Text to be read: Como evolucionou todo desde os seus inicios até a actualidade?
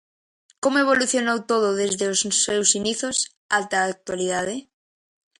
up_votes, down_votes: 0, 2